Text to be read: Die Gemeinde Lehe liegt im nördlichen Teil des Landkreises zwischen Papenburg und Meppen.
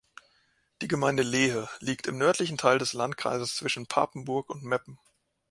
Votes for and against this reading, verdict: 2, 0, accepted